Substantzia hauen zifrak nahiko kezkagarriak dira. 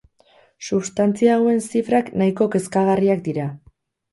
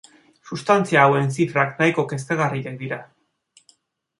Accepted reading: second